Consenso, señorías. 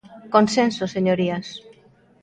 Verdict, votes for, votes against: rejected, 0, 2